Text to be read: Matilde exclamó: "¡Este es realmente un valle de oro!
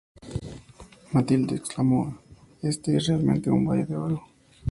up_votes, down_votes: 2, 0